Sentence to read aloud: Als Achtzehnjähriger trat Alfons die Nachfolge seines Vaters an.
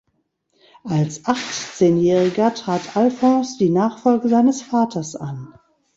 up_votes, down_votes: 1, 2